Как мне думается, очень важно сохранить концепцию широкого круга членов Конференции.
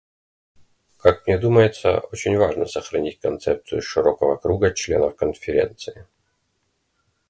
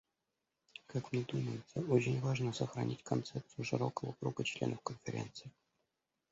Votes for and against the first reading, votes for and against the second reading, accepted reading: 1, 2, 2, 0, second